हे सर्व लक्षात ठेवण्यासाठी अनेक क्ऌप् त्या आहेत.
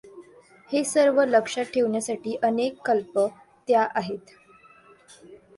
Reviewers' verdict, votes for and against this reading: accepted, 2, 1